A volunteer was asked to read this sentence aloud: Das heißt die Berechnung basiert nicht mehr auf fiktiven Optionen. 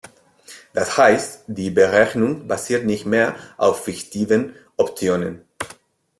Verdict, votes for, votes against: rejected, 0, 2